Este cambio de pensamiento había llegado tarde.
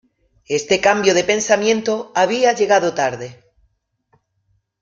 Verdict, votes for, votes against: rejected, 1, 2